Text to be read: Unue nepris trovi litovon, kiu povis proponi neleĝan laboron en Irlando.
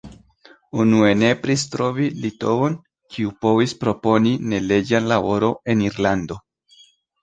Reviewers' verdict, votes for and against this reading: accepted, 2, 0